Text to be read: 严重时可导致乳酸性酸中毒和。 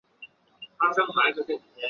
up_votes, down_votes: 1, 2